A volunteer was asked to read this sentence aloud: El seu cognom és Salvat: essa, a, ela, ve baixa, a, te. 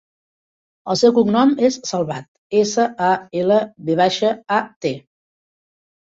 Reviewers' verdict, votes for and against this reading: accepted, 3, 0